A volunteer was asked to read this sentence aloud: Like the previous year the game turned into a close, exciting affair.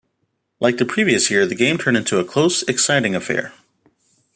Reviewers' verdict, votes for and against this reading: accepted, 2, 0